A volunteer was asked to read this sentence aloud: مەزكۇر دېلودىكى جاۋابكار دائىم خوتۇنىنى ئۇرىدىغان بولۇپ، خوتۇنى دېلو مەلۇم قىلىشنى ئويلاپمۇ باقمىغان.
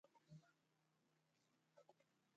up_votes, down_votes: 0, 2